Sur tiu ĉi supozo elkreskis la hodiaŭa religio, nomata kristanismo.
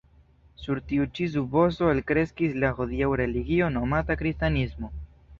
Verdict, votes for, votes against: accepted, 2, 0